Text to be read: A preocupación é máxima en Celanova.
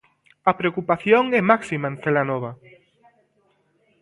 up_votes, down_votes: 2, 1